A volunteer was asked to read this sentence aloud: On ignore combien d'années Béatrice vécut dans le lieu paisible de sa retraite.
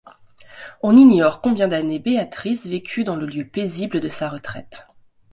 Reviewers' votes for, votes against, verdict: 2, 0, accepted